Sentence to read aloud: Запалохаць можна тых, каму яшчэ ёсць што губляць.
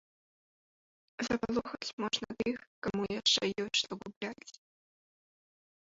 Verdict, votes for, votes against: rejected, 1, 2